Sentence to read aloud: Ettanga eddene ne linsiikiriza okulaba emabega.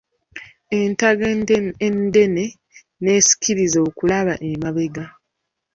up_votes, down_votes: 1, 2